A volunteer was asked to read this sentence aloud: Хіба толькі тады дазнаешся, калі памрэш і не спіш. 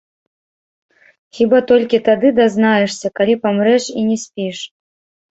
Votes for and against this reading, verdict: 1, 2, rejected